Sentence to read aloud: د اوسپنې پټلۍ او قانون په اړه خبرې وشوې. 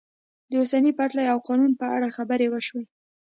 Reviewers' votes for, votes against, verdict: 2, 0, accepted